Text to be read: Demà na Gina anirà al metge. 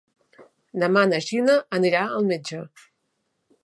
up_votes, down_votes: 3, 0